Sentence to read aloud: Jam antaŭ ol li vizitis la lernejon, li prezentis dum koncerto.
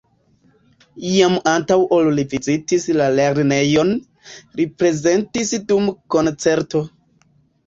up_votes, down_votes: 3, 2